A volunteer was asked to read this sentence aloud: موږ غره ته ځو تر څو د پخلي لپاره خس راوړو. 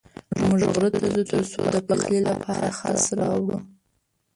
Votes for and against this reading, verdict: 1, 3, rejected